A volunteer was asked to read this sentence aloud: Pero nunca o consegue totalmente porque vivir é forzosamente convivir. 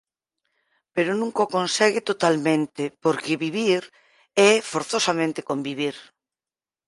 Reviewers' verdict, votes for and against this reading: accepted, 4, 0